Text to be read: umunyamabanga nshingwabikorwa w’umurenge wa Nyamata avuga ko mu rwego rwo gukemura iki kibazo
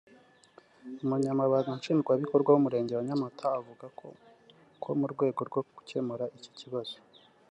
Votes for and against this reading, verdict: 0, 2, rejected